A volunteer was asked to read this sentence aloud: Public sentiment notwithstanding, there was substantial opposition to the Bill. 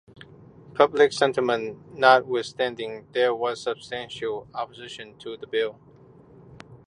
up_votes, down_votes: 2, 0